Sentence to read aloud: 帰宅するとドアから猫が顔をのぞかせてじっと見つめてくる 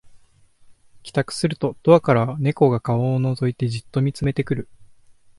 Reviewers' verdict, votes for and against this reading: rejected, 1, 2